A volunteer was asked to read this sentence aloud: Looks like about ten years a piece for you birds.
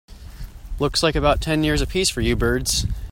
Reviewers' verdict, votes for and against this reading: accepted, 2, 0